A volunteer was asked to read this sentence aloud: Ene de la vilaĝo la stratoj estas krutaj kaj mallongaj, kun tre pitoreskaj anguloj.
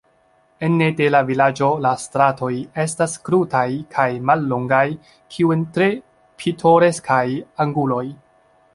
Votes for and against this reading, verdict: 0, 2, rejected